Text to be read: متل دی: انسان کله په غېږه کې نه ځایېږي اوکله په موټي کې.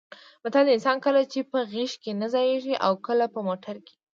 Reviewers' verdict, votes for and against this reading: rejected, 0, 2